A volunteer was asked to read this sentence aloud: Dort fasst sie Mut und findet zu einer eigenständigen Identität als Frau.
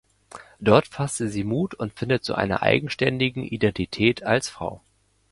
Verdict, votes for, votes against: rejected, 1, 2